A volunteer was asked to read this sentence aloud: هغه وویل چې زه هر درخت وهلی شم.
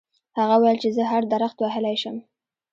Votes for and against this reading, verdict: 1, 2, rejected